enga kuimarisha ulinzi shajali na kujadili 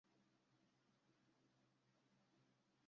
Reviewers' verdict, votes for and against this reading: rejected, 0, 2